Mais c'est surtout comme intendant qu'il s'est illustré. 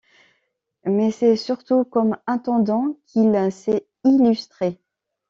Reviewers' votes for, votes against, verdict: 1, 2, rejected